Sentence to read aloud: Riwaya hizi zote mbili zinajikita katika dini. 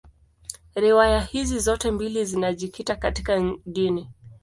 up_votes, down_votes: 2, 0